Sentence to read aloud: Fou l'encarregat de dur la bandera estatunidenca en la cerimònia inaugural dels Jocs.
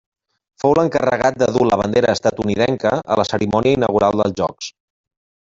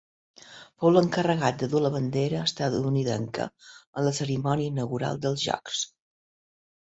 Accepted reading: second